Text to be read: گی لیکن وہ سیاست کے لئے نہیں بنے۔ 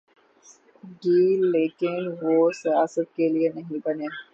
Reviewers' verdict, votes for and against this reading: rejected, 0, 3